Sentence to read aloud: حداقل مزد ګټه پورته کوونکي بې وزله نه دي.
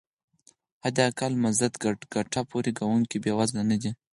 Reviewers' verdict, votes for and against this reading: rejected, 0, 4